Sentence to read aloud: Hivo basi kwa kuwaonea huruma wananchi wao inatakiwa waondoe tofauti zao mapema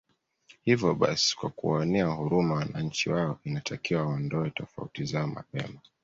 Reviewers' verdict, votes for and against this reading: accepted, 2, 0